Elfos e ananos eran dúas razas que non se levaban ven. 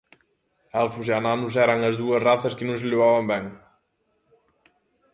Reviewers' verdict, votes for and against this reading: rejected, 1, 2